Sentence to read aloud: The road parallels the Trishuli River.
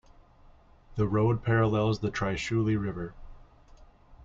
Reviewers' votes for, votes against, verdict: 2, 0, accepted